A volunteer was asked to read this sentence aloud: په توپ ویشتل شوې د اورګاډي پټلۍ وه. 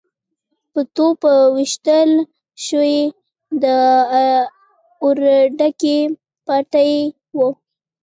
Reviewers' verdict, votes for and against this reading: rejected, 1, 2